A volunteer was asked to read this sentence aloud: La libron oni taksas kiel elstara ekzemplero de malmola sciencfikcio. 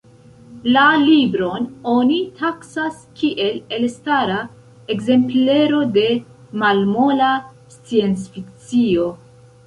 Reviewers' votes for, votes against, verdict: 2, 1, accepted